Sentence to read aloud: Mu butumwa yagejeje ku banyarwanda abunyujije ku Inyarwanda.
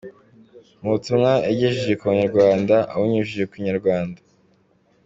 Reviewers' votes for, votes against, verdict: 2, 1, accepted